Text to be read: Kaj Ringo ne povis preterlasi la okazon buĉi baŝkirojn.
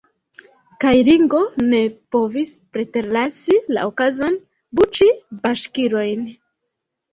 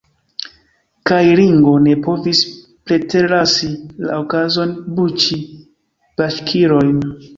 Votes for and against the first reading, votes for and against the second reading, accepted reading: 0, 2, 2, 0, second